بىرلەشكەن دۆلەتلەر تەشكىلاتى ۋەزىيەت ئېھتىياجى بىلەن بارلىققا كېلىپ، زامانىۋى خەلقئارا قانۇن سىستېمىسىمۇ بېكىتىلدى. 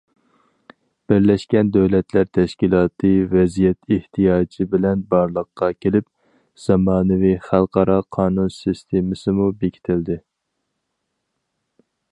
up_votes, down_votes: 4, 0